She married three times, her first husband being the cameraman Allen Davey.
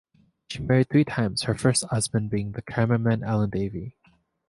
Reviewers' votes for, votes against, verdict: 2, 0, accepted